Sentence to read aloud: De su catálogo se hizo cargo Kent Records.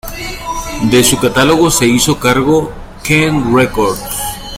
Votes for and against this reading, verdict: 2, 1, accepted